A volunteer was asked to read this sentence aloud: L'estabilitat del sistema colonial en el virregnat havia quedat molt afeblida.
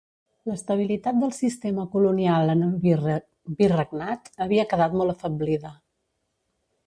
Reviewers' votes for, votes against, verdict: 0, 2, rejected